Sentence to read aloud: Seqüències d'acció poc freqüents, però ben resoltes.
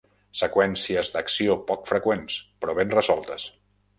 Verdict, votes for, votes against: accepted, 2, 0